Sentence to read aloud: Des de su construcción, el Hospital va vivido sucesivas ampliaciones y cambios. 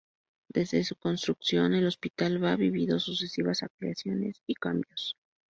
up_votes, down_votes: 0, 2